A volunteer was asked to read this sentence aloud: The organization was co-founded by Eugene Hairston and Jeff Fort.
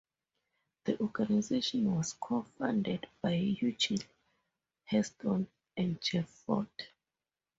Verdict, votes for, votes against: accepted, 4, 0